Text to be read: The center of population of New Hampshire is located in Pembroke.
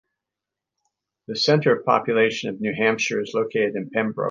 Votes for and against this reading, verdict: 2, 1, accepted